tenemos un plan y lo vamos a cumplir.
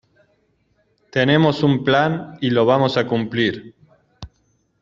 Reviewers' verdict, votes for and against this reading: accepted, 2, 0